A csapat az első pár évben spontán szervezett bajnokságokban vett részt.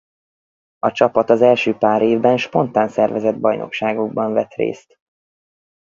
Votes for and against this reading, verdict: 4, 0, accepted